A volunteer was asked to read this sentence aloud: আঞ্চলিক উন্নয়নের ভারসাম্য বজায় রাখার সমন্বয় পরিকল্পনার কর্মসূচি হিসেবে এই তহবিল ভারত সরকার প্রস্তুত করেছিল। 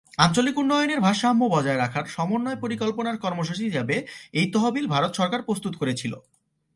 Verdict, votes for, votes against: accepted, 2, 1